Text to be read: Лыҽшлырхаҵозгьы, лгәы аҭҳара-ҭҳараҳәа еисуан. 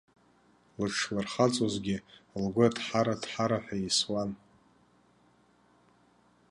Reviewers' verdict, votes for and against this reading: rejected, 0, 2